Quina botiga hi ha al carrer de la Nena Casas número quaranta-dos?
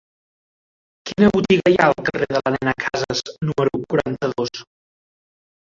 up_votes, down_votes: 0, 2